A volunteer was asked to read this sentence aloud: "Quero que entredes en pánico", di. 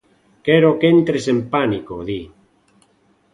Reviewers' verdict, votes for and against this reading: rejected, 0, 2